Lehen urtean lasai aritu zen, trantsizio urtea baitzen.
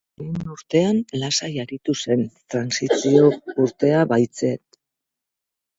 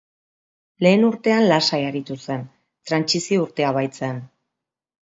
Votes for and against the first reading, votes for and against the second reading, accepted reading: 0, 2, 2, 0, second